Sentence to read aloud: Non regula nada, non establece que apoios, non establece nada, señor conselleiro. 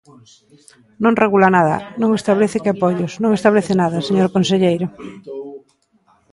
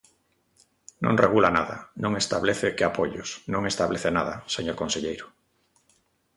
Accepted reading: second